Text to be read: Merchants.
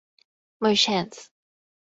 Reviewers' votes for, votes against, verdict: 2, 2, rejected